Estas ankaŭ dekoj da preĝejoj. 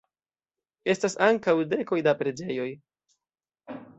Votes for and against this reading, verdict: 1, 2, rejected